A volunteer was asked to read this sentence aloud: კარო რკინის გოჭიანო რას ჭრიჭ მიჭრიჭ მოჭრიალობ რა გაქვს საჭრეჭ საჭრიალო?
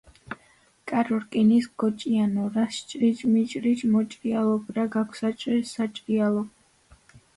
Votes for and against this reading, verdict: 2, 0, accepted